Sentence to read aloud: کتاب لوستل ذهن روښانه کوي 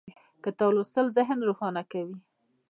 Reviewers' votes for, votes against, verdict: 1, 2, rejected